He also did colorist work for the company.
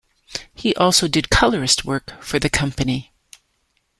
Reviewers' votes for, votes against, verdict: 2, 0, accepted